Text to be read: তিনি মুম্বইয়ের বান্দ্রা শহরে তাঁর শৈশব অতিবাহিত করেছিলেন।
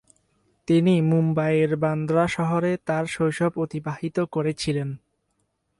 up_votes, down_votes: 2, 0